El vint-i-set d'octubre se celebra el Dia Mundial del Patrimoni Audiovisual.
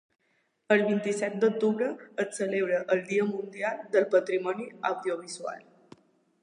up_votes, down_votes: 0, 2